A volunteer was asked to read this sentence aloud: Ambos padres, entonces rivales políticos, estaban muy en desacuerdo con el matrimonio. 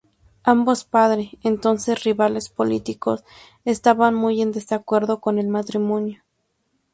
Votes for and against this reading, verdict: 0, 2, rejected